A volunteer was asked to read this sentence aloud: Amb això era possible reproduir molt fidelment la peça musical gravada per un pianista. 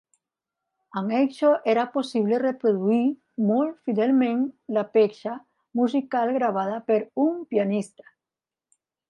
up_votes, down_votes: 2, 0